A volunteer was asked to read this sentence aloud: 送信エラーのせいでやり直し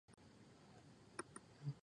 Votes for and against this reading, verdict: 0, 2, rejected